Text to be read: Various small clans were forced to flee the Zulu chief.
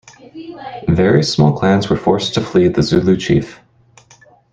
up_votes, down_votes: 0, 2